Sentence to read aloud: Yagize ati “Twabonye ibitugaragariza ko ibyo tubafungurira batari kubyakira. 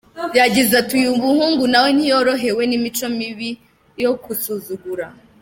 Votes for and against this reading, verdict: 0, 2, rejected